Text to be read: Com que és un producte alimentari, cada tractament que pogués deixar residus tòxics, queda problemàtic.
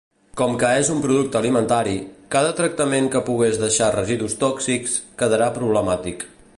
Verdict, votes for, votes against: rejected, 0, 3